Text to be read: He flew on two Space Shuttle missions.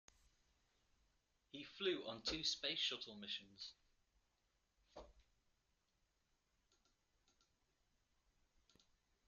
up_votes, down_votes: 0, 2